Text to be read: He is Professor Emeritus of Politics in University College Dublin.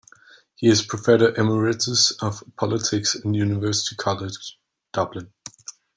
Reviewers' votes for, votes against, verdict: 1, 2, rejected